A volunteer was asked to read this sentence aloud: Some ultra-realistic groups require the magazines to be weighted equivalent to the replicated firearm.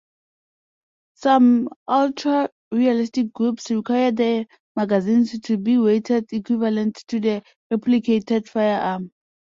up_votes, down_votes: 2, 0